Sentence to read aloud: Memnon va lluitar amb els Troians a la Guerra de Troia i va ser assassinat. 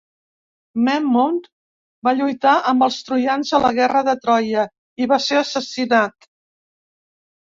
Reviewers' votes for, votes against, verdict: 0, 2, rejected